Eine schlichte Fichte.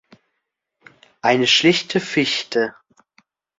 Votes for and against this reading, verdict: 2, 0, accepted